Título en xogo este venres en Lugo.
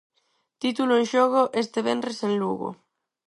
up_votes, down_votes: 4, 0